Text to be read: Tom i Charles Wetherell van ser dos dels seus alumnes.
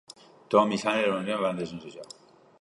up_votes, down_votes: 1, 2